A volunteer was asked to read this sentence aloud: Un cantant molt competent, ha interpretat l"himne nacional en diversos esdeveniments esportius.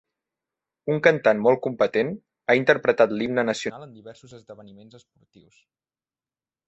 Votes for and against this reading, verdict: 0, 2, rejected